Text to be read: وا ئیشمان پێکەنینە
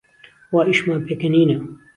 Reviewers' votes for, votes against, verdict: 2, 0, accepted